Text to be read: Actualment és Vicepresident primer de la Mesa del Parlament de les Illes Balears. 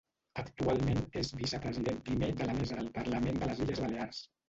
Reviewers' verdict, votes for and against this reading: rejected, 1, 2